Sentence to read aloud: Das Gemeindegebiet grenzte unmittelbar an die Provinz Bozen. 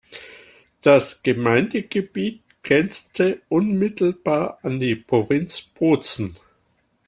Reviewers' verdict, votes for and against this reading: accepted, 2, 0